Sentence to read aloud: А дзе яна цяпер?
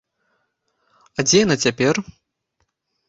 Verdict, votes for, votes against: accepted, 2, 0